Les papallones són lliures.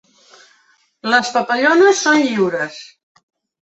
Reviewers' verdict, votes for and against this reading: accepted, 3, 0